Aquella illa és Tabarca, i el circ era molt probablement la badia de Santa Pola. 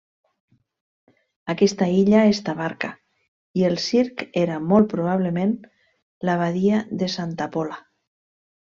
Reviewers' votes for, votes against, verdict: 1, 2, rejected